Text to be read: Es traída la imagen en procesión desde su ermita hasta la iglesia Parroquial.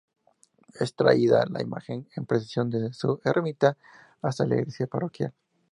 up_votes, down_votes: 2, 0